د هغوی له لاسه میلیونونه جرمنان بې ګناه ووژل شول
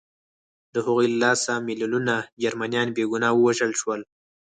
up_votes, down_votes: 4, 0